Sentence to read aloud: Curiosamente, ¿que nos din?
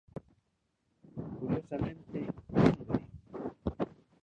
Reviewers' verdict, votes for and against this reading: rejected, 1, 2